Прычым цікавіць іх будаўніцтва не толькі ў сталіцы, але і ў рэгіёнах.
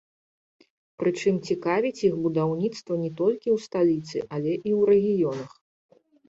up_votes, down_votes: 2, 0